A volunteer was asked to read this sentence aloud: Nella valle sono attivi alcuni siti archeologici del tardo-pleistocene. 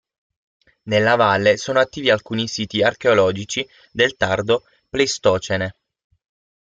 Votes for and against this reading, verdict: 0, 6, rejected